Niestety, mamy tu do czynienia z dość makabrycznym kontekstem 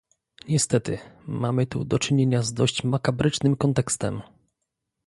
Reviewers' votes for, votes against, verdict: 2, 0, accepted